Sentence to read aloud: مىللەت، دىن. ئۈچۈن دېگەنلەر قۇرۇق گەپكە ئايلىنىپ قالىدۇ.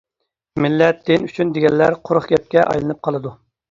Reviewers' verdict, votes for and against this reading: accepted, 2, 0